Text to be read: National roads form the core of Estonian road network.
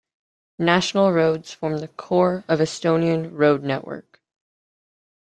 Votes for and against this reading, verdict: 2, 0, accepted